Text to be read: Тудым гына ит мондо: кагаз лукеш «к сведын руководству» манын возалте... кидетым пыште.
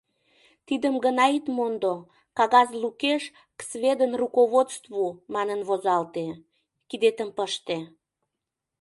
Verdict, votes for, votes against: rejected, 0, 2